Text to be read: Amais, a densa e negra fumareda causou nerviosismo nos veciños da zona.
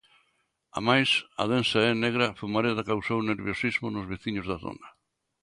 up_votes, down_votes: 2, 0